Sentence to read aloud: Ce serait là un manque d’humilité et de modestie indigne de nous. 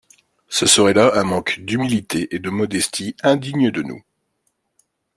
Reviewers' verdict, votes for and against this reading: accepted, 2, 0